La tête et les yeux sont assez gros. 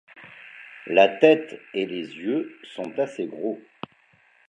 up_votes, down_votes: 2, 0